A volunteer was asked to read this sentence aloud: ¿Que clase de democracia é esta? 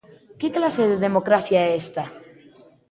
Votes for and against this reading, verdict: 2, 0, accepted